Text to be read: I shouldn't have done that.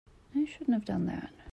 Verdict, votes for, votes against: accepted, 2, 0